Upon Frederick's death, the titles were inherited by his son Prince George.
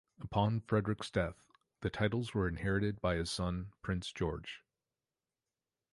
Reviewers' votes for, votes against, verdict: 2, 0, accepted